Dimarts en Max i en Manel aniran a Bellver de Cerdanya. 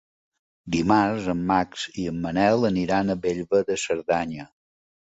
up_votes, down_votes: 2, 0